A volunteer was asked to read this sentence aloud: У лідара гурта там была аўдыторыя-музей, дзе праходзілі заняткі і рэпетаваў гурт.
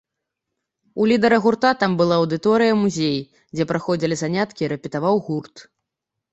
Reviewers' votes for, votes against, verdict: 2, 0, accepted